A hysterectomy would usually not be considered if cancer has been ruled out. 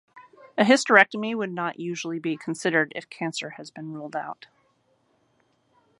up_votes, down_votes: 0, 2